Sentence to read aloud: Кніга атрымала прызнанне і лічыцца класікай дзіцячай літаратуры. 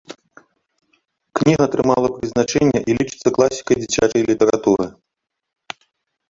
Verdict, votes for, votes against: rejected, 0, 2